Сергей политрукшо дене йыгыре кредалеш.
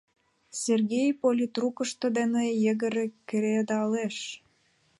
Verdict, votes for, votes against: rejected, 0, 2